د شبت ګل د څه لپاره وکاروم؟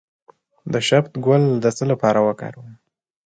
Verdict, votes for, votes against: accepted, 2, 0